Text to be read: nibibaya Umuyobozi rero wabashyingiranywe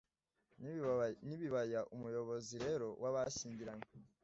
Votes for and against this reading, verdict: 1, 2, rejected